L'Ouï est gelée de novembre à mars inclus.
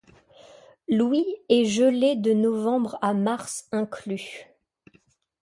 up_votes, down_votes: 2, 0